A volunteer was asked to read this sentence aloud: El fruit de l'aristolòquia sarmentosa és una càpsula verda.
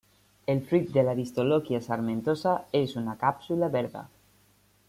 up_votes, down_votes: 1, 2